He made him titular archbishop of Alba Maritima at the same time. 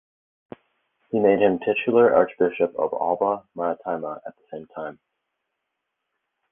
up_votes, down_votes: 2, 2